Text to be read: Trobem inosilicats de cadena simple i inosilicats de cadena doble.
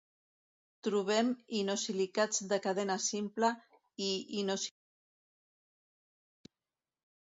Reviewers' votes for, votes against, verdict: 0, 2, rejected